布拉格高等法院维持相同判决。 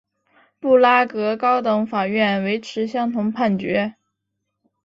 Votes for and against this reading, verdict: 3, 0, accepted